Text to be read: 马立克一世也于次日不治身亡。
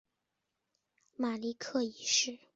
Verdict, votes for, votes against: rejected, 0, 4